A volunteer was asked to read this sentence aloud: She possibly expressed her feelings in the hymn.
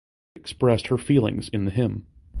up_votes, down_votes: 0, 2